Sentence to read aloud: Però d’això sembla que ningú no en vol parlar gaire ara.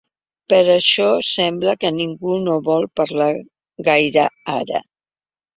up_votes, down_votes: 0, 2